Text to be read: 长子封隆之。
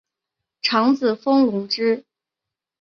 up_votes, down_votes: 2, 0